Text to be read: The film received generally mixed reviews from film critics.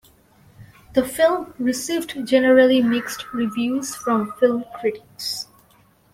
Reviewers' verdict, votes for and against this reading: accepted, 2, 0